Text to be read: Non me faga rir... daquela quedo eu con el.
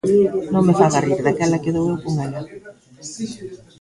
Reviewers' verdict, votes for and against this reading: rejected, 1, 3